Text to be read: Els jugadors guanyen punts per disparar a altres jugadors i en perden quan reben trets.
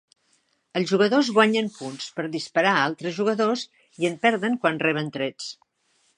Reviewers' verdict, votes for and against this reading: accepted, 3, 0